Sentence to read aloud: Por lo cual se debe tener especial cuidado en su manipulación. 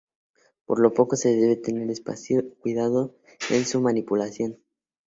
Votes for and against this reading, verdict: 0, 2, rejected